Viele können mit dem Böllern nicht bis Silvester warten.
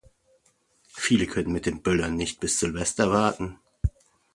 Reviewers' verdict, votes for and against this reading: accepted, 2, 0